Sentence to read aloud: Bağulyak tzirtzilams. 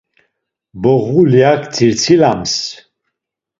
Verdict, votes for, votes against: rejected, 1, 2